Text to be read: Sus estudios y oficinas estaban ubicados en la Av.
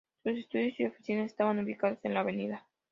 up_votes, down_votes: 2, 0